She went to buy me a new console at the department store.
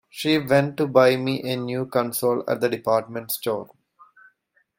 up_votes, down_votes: 2, 1